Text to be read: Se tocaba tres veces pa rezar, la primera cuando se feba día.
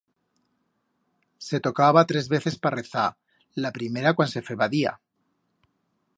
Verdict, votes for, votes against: rejected, 1, 2